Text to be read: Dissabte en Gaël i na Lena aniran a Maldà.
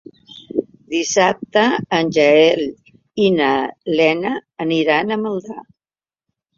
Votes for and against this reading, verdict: 0, 2, rejected